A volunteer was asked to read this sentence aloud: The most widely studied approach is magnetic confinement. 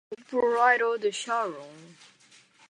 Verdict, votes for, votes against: rejected, 0, 2